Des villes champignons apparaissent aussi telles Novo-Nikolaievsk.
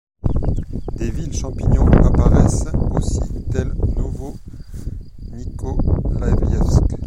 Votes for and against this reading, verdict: 0, 2, rejected